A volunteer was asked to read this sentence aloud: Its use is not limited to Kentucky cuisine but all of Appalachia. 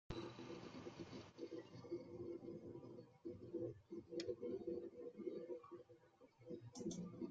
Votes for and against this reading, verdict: 0, 2, rejected